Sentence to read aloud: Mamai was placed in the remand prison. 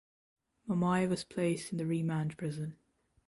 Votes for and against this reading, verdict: 1, 2, rejected